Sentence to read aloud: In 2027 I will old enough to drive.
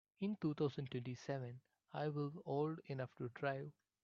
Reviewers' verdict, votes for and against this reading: rejected, 0, 2